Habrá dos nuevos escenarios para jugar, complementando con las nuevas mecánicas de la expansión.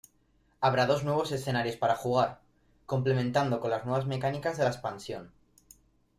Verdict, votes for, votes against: accepted, 2, 0